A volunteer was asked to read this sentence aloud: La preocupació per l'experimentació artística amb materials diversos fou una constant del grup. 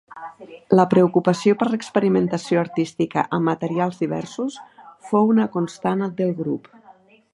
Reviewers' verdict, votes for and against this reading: rejected, 1, 2